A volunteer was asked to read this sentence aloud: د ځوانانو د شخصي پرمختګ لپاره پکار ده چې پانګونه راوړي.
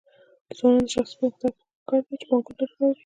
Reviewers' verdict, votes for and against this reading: rejected, 0, 2